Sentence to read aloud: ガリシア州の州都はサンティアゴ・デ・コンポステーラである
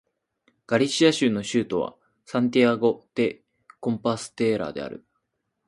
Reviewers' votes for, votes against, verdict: 2, 4, rejected